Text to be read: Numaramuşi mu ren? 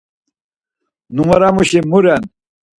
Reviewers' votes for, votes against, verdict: 4, 0, accepted